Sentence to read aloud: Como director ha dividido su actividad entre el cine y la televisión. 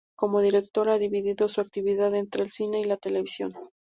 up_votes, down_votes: 2, 0